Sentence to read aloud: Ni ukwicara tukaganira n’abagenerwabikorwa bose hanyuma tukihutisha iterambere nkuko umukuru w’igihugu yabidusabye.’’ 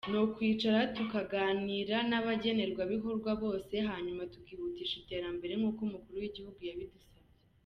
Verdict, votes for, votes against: rejected, 0, 2